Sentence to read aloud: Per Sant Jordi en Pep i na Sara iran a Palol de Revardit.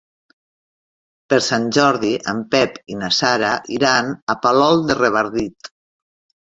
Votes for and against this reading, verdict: 4, 0, accepted